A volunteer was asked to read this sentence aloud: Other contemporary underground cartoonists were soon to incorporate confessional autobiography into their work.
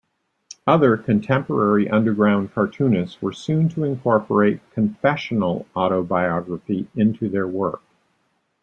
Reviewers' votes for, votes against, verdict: 2, 0, accepted